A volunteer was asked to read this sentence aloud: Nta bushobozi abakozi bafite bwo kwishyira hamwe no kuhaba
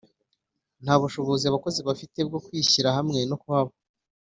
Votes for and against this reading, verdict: 2, 0, accepted